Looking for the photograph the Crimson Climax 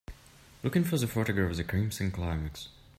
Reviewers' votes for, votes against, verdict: 0, 2, rejected